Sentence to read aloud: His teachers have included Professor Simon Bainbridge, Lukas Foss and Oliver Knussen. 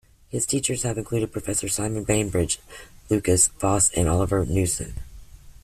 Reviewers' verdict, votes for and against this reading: accepted, 2, 0